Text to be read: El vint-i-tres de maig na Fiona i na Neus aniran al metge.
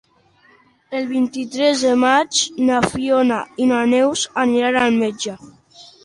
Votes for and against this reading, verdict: 3, 0, accepted